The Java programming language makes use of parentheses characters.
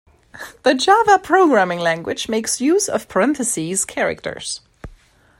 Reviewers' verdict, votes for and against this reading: accepted, 2, 0